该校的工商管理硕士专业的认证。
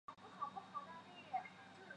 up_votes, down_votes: 0, 2